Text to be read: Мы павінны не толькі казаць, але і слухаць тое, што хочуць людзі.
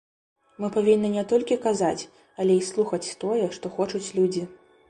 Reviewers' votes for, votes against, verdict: 2, 0, accepted